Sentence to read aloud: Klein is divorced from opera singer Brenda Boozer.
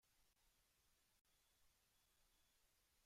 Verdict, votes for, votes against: rejected, 0, 2